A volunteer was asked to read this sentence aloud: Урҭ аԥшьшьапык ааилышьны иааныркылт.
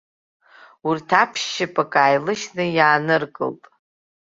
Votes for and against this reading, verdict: 2, 0, accepted